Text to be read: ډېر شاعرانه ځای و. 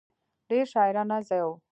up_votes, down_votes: 0, 2